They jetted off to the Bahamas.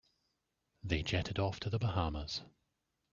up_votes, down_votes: 2, 0